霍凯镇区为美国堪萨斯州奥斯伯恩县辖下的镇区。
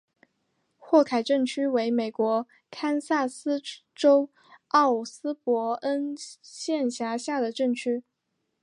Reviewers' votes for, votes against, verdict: 2, 0, accepted